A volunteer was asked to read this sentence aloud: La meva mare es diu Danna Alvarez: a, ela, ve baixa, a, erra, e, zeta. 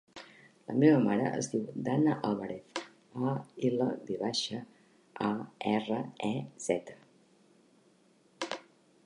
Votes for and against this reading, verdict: 2, 0, accepted